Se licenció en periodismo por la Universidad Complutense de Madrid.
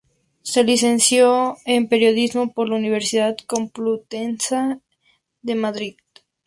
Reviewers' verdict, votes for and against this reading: rejected, 0, 2